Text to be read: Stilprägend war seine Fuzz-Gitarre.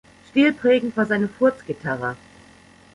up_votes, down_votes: 0, 3